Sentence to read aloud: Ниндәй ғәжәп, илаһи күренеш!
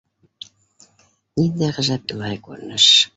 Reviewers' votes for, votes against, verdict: 1, 2, rejected